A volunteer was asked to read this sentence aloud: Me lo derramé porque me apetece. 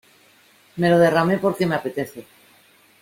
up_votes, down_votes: 2, 0